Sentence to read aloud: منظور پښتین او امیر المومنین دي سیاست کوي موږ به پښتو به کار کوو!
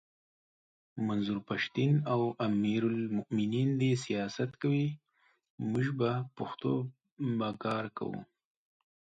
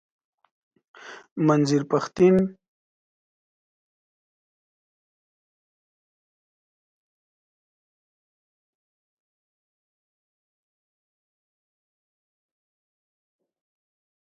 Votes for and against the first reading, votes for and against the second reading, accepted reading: 2, 0, 0, 2, first